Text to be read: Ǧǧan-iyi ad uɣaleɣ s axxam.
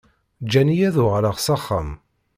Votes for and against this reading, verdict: 2, 0, accepted